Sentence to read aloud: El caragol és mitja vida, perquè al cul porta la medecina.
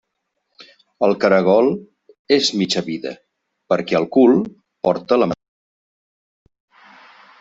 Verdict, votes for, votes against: rejected, 0, 2